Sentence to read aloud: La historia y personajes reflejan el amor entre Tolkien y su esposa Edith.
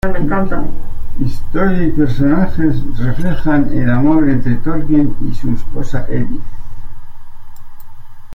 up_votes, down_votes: 1, 2